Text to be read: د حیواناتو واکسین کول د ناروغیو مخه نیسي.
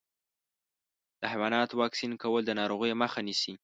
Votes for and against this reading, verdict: 2, 0, accepted